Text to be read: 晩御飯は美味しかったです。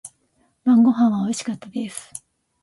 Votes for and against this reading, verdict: 2, 0, accepted